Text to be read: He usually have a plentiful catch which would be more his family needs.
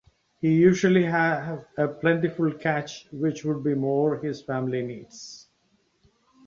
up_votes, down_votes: 2, 0